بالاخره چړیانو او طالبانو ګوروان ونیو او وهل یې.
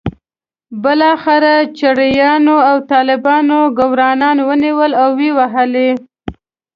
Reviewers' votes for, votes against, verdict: 0, 2, rejected